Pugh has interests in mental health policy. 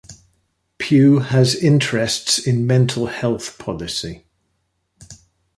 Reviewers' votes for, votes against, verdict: 2, 0, accepted